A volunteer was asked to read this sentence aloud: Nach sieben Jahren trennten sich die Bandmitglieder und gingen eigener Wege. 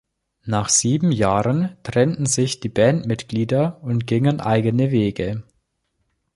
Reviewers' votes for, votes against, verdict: 1, 2, rejected